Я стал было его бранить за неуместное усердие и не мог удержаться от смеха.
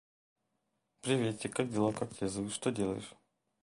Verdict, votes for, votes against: rejected, 0, 2